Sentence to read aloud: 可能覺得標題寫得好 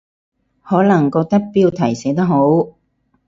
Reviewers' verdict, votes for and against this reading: rejected, 0, 2